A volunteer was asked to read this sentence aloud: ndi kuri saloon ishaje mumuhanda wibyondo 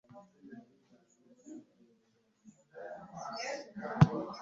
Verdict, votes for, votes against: rejected, 0, 2